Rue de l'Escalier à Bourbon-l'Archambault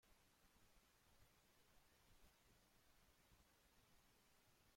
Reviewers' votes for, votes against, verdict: 0, 2, rejected